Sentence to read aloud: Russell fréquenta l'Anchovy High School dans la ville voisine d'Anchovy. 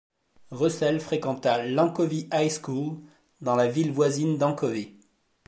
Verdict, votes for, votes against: accepted, 2, 0